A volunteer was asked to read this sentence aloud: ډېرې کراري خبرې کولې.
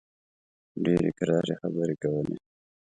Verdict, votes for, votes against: accepted, 2, 0